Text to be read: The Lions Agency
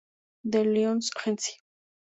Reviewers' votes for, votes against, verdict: 2, 0, accepted